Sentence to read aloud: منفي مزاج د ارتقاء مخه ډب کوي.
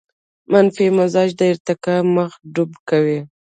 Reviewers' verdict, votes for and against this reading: rejected, 1, 2